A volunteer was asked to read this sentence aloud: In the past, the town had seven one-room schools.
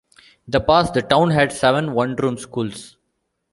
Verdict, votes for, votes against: accepted, 2, 1